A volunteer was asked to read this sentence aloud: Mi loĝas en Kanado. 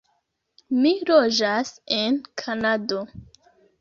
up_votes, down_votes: 2, 0